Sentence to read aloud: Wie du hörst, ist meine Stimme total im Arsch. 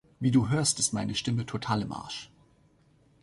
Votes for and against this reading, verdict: 2, 0, accepted